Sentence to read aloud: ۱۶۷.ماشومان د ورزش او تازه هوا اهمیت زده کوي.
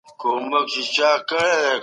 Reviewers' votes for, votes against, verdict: 0, 2, rejected